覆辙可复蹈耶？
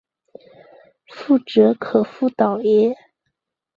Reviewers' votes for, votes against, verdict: 0, 2, rejected